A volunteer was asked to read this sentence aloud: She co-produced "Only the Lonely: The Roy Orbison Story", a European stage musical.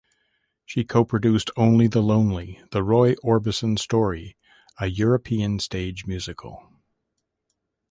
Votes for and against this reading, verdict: 2, 0, accepted